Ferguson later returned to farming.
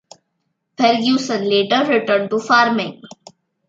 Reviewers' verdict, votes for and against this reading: accepted, 2, 0